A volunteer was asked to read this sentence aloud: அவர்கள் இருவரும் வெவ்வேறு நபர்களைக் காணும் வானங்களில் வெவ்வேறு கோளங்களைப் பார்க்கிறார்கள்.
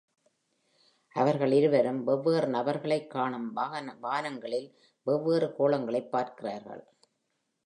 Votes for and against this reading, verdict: 0, 2, rejected